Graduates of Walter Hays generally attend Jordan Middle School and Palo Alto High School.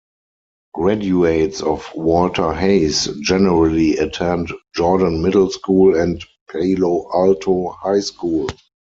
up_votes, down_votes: 2, 4